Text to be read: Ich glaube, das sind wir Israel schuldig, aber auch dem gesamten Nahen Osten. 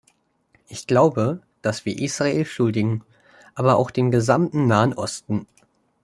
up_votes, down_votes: 0, 2